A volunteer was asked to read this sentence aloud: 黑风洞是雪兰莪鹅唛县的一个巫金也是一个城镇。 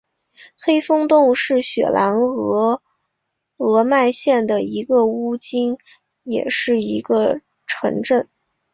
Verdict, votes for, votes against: accepted, 2, 1